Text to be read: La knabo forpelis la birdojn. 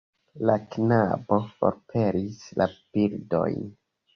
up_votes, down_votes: 0, 2